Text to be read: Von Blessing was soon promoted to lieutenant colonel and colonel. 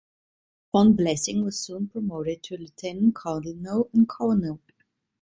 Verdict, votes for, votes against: rejected, 1, 2